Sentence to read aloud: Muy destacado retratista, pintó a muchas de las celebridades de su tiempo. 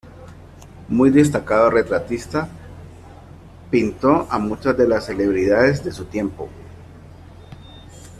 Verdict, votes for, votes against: rejected, 1, 2